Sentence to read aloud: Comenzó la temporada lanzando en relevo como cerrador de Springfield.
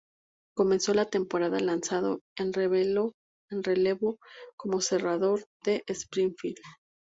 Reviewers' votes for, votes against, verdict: 0, 4, rejected